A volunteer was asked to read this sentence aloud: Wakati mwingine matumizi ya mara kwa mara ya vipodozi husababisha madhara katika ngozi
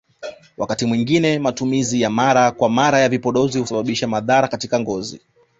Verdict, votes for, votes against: accepted, 2, 0